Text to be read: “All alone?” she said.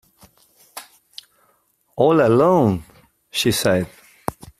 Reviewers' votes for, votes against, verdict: 2, 0, accepted